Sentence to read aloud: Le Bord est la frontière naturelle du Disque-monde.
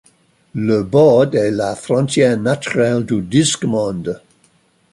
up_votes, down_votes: 0, 2